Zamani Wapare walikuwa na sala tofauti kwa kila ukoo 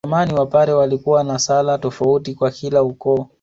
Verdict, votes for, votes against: rejected, 1, 2